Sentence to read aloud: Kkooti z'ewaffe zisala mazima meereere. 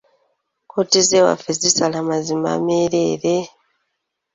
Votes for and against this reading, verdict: 3, 0, accepted